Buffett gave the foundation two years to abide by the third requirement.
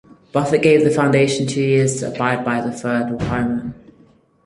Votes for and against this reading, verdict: 4, 0, accepted